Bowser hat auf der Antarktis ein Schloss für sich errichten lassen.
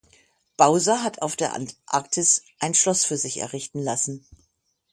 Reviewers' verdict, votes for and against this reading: accepted, 6, 0